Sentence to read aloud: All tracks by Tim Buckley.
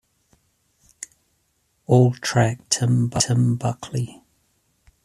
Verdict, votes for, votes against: rejected, 0, 2